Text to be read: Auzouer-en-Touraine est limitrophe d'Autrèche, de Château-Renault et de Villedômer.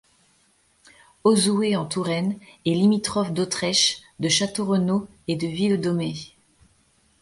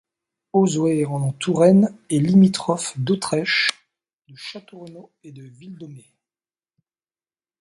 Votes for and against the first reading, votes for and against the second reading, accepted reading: 2, 0, 0, 2, first